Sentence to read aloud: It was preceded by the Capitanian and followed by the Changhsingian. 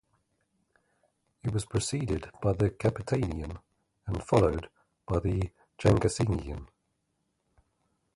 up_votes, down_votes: 0, 2